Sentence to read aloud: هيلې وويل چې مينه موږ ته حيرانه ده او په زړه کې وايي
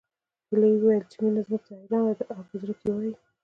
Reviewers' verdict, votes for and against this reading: rejected, 1, 2